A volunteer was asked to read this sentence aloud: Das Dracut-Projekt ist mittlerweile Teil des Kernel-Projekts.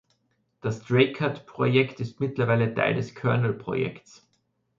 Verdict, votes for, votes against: accepted, 2, 0